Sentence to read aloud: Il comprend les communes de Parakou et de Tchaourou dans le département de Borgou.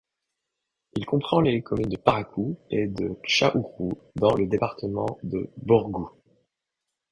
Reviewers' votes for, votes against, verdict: 2, 0, accepted